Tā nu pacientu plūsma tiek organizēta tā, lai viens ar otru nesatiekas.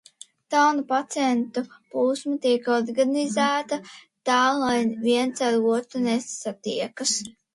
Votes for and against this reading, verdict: 2, 0, accepted